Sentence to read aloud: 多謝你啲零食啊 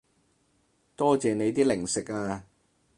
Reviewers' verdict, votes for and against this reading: accepted, 2, 0